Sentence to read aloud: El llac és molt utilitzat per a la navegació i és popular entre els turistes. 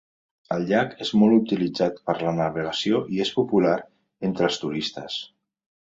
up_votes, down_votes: 2, 1